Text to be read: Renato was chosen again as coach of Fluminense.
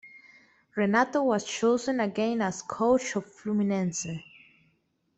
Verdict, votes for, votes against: accepted, 2, 1